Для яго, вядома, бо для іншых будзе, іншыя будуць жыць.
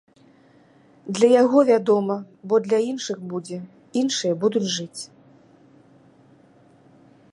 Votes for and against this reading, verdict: 3, 0, accepted